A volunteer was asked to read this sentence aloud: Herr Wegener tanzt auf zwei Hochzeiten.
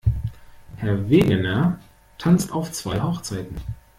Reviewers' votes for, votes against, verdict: 2, 1, accepted